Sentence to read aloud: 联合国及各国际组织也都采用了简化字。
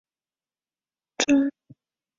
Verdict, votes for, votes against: rejected, 0, 4